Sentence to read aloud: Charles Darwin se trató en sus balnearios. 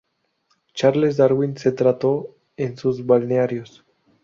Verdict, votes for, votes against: rejected, 2, 2